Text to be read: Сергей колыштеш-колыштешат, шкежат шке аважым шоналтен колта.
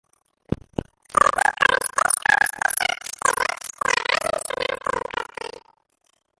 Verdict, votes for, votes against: rejected, 0, 2